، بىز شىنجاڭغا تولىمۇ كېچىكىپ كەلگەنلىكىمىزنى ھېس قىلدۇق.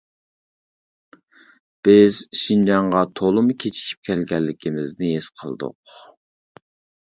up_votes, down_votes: 1, 2